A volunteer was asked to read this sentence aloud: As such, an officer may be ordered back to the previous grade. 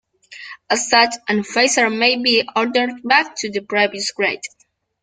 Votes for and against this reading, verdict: 0, 2, rejected